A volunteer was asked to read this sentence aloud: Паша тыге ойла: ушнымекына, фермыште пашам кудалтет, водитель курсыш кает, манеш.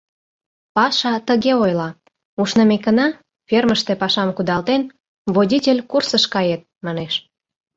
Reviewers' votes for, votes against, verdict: 0, 2, rejected